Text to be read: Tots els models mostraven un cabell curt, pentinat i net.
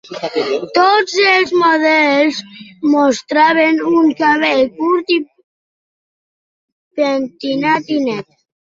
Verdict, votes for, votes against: rejected, 1, 2